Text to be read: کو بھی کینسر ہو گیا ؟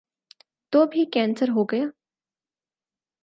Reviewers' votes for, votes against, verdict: 2, 4, rejected